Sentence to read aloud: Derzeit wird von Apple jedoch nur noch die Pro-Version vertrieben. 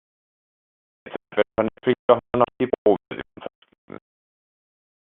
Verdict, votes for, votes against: rejected, 0, 2